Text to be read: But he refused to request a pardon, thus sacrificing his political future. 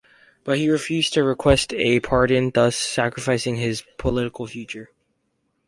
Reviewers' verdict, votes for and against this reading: accepted, 4, 0